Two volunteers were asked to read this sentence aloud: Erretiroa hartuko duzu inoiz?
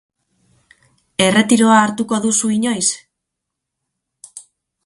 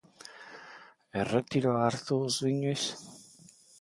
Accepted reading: first